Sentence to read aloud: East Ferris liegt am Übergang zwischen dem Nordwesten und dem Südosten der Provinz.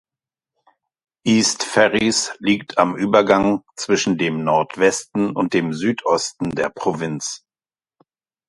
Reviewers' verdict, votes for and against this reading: accepted, 2, 0